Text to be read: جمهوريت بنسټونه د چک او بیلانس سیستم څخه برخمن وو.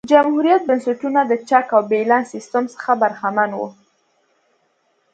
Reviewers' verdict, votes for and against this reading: accepted, 2, 0